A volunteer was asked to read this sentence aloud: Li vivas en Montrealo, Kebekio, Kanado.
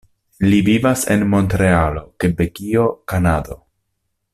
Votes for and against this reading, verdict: 2, 0, accepted